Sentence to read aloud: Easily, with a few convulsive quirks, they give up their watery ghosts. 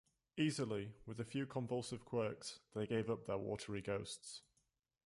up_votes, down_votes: 2, 0